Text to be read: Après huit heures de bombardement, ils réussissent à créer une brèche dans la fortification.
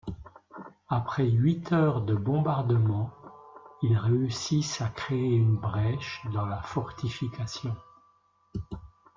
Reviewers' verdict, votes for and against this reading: rejected, 1, 2